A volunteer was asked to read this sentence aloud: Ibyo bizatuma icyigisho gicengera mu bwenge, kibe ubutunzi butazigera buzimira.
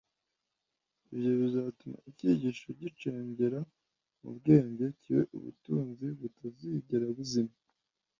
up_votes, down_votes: 1, 2